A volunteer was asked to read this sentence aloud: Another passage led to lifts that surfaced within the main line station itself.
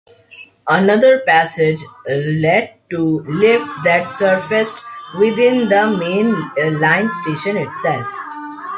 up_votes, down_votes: 2, 1